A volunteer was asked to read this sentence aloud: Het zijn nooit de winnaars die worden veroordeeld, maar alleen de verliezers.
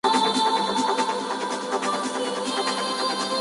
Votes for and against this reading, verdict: 0, 2, rejected